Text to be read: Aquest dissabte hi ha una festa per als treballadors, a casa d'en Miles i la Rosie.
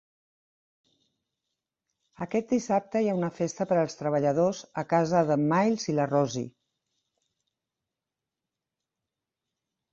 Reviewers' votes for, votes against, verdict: 3, 0, accepted